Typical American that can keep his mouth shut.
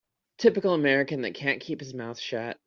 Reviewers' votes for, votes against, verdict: 0, 2, rejected